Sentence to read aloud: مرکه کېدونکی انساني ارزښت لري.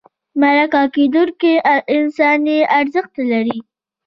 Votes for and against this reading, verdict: 1, 2, rejected